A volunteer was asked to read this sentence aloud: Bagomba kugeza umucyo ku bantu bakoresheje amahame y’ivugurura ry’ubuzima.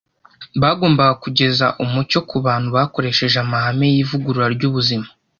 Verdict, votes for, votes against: rejected, 1, 2